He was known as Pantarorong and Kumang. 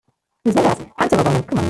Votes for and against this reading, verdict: 0, 2, rejected